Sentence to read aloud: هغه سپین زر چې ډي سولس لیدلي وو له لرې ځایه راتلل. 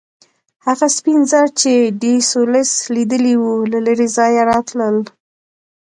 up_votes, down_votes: 2, 0